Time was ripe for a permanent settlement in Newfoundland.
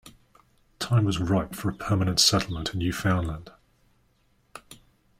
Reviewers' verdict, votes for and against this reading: accepted, 2, 0